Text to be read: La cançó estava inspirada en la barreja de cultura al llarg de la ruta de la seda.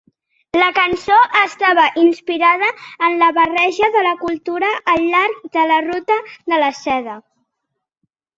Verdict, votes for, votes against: rejected, 0, 2